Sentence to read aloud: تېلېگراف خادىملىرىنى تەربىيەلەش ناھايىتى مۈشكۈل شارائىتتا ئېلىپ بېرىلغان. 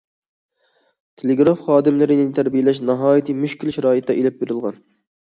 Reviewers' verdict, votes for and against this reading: accepted, 2, 0